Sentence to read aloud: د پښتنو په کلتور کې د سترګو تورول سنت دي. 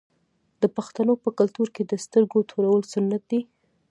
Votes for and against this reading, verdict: 0, 2, rejected